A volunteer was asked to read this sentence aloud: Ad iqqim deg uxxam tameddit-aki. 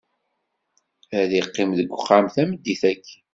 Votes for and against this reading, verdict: 2, 0, accepted